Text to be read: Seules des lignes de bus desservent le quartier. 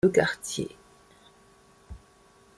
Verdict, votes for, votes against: rejected, 1, 2